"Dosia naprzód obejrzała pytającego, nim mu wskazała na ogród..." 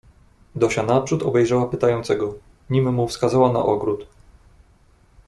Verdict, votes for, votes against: accepted, 2, 0